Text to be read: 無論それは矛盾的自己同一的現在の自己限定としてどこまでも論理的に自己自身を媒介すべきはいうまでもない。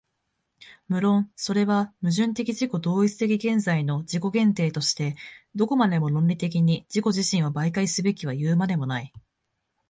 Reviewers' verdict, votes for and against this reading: accepted, 2, 0